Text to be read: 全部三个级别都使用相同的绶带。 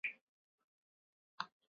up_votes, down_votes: 2, 9